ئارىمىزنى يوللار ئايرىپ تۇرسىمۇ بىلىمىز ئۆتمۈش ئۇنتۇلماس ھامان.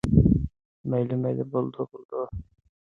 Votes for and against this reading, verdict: 0, 2, rejected